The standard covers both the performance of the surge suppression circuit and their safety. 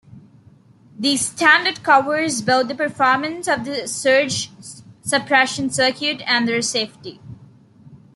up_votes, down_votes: 3, 1